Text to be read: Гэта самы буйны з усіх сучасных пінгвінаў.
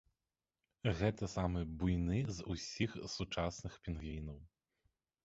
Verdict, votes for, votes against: accepted, 2, 0